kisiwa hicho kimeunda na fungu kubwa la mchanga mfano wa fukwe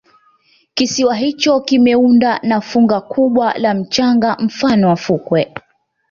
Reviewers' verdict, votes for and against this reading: accepted, 2, 1